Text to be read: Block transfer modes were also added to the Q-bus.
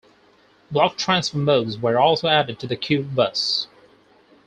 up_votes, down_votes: 4, 0